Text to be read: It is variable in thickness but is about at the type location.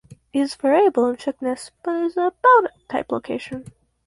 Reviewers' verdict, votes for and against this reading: rejected, 0, 4